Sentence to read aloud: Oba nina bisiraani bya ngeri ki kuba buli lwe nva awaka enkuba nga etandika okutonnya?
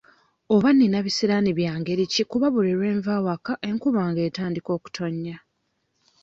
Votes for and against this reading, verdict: 2, 0, accepted